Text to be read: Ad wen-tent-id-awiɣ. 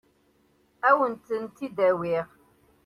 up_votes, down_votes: 2, 0